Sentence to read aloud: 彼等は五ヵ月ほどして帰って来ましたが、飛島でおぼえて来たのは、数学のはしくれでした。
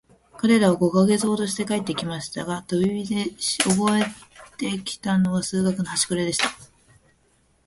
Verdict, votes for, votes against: rejected, 1, 2